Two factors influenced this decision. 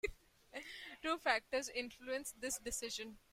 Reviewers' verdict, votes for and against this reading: accepted, 2, 1